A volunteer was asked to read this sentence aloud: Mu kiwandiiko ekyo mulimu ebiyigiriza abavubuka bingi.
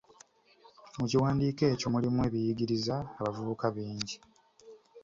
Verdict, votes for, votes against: accepted, 3, 0